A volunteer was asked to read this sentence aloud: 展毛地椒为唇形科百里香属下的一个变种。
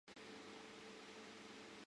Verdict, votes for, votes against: accepted, 2, 0